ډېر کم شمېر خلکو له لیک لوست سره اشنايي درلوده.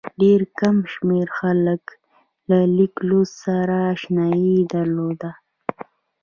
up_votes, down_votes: 2, 0